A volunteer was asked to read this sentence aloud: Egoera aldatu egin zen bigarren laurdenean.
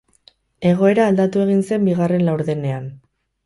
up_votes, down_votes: 2, 2